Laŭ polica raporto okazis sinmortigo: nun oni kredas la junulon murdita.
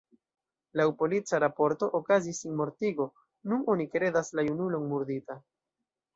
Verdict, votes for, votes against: rejected, 0, 2